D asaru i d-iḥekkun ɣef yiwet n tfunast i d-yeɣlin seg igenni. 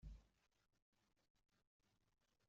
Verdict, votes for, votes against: rejected, 1, 2